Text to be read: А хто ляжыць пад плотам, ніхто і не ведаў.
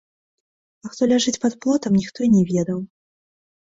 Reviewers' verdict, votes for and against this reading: rejected, 0, 2